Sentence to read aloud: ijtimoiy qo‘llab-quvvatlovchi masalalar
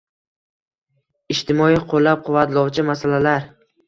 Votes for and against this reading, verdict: 2, 1, accepted